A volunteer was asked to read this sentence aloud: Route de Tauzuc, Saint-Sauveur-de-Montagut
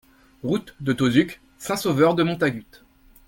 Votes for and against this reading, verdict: 3, 0, accepted